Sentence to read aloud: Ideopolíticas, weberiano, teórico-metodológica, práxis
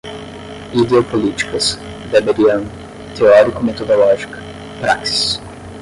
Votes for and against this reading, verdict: 5, 5, rejected